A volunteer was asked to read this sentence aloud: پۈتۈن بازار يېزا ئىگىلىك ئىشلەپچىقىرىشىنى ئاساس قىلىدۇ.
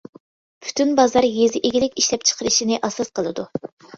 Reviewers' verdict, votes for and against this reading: accepted, 2, 0